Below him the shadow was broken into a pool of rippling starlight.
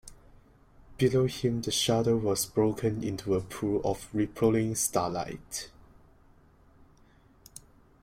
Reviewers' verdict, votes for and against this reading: accepted, 2, 0